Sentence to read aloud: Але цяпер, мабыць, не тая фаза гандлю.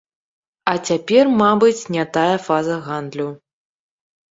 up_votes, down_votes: 0, 2